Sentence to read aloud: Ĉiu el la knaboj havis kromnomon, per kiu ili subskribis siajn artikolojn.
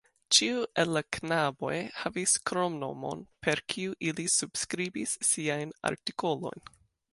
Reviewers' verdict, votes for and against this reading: accepted, 2, 0